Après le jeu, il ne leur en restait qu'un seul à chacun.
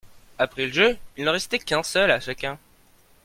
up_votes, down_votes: 0, 2